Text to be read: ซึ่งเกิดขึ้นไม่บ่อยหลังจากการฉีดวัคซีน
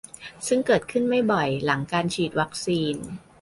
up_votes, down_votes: 1, 2